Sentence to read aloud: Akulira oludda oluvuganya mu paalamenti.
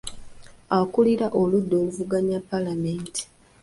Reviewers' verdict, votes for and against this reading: accepted, 2, 0